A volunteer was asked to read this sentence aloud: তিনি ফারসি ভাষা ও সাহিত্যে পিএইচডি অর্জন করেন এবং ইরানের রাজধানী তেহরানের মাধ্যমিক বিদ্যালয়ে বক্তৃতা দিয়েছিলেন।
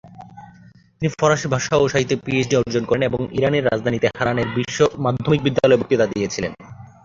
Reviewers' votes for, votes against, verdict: 2, 0, accepted